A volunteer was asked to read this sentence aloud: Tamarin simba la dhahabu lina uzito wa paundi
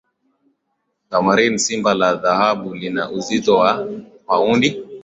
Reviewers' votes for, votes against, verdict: 3, 0, accepted